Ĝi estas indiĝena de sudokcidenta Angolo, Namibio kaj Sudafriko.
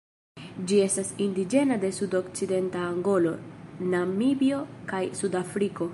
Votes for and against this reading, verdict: 2, 0, accepted